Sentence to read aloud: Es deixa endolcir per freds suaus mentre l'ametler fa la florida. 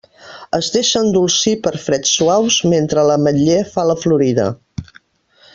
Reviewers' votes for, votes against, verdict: 0, 2, rejected